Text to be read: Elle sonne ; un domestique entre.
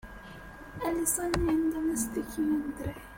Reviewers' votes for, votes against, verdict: 0, 2, rejected